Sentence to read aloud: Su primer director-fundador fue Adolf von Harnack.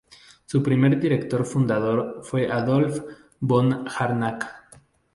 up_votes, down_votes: 2, 0